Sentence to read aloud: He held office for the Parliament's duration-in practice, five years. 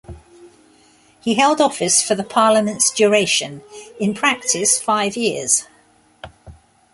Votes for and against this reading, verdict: 0, 2, rejected